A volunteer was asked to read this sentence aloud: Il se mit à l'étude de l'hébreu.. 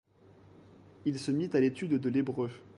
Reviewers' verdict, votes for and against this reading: accepted, 2, 0